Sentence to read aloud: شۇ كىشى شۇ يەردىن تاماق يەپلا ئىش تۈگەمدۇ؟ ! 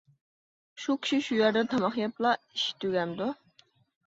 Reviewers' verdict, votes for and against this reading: accepted, 2, 0